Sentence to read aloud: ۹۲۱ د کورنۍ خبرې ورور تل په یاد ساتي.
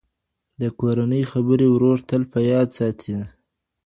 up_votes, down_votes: 0, 2